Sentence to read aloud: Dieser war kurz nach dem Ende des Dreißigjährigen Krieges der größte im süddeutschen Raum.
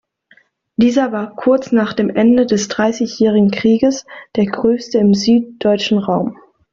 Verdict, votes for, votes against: accepted, 2, 0